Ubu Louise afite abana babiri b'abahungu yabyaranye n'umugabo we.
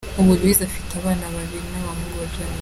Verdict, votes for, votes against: rejected, 0, 2